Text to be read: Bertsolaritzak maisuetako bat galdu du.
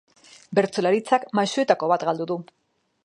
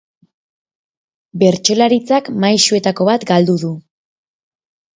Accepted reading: second